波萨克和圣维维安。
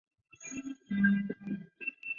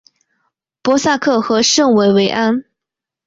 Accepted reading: second